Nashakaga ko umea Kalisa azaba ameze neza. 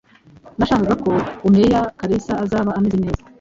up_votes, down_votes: 1, 2